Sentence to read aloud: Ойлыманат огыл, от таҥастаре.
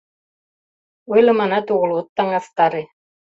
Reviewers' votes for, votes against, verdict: 2, 0, accepted